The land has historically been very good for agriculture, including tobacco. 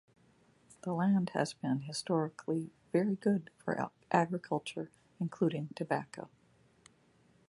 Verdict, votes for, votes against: rejected, 1, 2